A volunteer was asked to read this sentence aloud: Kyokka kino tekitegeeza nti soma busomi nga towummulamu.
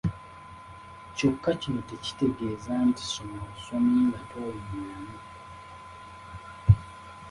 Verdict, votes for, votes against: accepted, 2, 0